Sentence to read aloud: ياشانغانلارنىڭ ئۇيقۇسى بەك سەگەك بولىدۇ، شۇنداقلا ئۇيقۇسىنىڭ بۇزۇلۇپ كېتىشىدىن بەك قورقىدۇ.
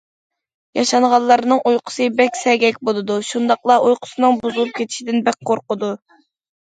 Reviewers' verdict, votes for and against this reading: accepted, 2, 0